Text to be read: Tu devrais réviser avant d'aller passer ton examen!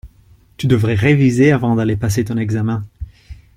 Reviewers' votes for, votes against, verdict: 2, 0, accepted